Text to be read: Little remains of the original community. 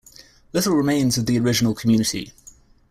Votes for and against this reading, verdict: 2, 0, accepted